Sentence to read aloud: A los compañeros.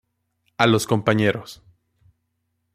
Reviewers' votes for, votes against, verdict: 2, 0, accepted